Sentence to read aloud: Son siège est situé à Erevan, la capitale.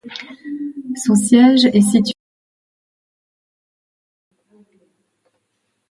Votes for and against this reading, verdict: 0, 2, rejected